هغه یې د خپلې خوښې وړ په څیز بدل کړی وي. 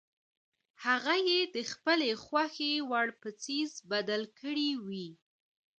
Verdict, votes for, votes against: accepted, 2, 0